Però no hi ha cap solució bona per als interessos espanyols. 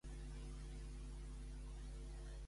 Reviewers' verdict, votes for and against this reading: rejected, 0, 2